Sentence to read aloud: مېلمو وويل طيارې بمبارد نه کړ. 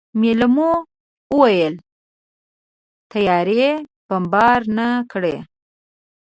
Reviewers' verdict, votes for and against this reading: rejected, 2, 3